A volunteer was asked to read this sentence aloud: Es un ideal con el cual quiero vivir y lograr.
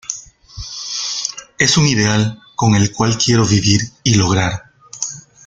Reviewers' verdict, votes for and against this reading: accepted, 2, 0